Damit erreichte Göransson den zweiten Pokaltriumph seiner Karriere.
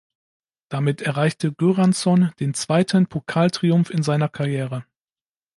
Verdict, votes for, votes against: rejected, 0, 2